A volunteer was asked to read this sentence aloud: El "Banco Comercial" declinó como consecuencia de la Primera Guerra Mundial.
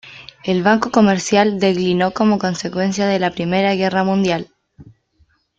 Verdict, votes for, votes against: rejected, 1, 2